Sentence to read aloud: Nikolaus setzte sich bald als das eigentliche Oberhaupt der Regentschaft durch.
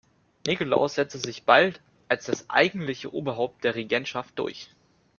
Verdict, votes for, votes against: accepted, 2, 0